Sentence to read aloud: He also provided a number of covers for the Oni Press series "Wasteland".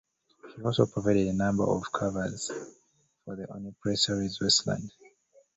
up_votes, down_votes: 1, 2